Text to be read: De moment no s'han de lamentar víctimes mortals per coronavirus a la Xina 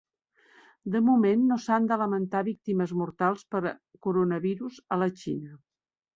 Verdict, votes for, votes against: accepted, 3, 1